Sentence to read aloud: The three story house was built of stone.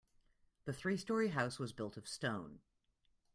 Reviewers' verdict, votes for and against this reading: accepted, 2, 0